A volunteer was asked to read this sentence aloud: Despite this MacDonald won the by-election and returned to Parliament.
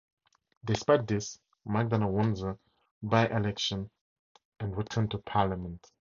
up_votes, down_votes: 2, 0